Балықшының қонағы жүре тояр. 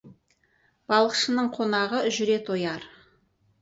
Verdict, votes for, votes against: accepted, 4, 0